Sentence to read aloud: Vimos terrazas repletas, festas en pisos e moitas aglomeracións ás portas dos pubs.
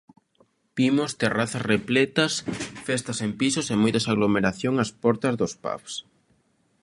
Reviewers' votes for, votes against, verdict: 0, 2, rejected